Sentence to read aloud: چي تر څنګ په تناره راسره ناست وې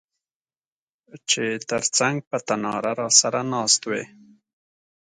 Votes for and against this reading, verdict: 2, 0, accepted